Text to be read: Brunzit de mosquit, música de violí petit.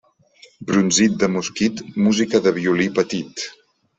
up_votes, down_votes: 2, 0